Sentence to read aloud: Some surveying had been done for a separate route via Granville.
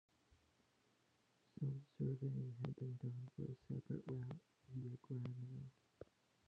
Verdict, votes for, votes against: rejected, 0, 2